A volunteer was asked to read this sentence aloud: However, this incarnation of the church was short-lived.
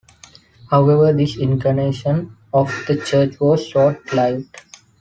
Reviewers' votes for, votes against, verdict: 0, 3, rejected